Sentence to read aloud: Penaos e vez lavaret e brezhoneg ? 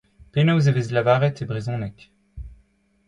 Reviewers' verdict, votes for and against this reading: accepted, 2, 0